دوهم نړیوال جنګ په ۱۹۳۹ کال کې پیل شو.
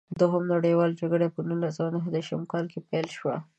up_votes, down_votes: 0, 2